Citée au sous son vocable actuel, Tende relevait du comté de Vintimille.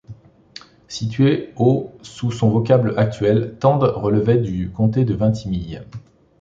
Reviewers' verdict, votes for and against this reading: rejected, 1, 2